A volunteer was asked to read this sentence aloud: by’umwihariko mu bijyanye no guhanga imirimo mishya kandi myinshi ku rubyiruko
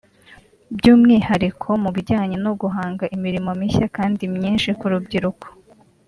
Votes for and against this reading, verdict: 2, 1, accepted